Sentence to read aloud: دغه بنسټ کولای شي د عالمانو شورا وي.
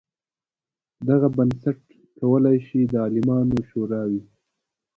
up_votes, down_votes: 2, 0